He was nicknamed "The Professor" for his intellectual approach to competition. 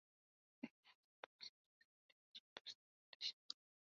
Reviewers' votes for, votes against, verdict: 0, 2, rejected